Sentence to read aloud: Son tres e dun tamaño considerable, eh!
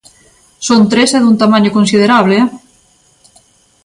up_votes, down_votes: 2, 0